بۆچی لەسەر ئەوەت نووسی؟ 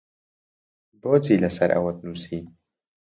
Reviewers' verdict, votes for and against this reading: accepted, 2, 0